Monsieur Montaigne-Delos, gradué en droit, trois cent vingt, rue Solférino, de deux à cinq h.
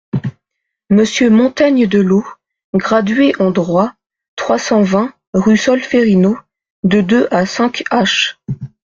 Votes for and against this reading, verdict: 2, 0, accepted